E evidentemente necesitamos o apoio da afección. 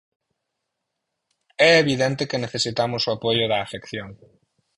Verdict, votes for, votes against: rejected, 2, 4